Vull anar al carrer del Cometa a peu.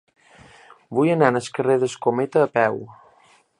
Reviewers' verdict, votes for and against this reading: rejected, 1, 2